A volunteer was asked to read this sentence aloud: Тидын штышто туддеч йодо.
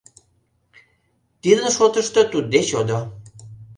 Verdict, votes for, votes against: rejected, 1, 2